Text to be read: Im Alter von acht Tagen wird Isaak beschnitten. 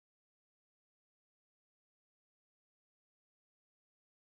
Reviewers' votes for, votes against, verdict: 0, 2, rejected